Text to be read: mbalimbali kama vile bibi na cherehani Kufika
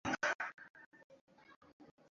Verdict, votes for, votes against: rejected, 0, 2